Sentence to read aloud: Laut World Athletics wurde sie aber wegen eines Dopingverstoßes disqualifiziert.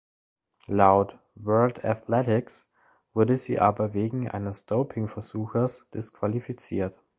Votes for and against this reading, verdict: 1, 2, rejected